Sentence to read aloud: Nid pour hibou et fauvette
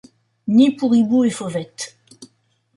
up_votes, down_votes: 2, 0